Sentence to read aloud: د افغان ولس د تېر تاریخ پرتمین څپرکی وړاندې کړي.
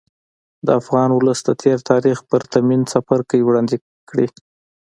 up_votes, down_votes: 3, 0